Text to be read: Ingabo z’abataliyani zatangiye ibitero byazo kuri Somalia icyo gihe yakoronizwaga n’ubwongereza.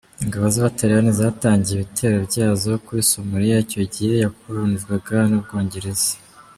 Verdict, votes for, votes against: rejected, 0, 2